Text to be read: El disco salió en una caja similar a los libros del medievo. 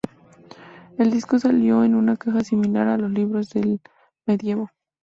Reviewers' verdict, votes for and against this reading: accepted, 2, 0